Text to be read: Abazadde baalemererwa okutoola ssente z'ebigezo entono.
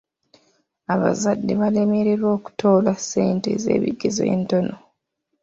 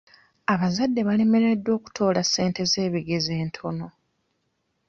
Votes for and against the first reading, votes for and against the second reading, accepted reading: 2, 0, 0, 2, first